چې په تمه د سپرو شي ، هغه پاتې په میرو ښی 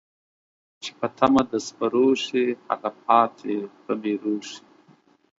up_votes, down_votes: 0, 2